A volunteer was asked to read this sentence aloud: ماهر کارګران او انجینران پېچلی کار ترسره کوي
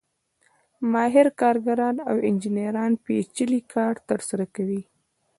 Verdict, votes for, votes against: accepted, 2, 0